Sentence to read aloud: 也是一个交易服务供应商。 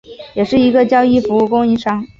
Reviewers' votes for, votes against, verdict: 2, 0, accepted